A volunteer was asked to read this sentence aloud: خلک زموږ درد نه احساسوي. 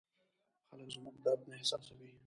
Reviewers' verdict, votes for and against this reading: rejected, 1, 2